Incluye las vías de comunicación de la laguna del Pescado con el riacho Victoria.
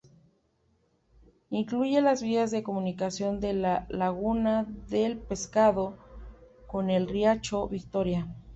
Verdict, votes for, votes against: accepted, 2, 0